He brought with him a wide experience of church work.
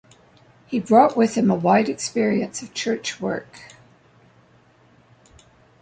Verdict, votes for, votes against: accepted, 2, 0